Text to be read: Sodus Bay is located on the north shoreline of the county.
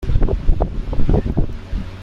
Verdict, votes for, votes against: rejected, 0, 2